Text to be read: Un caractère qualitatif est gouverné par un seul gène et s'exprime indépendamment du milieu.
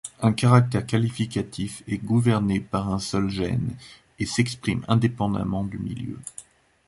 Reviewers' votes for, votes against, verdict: 2, 1, accepted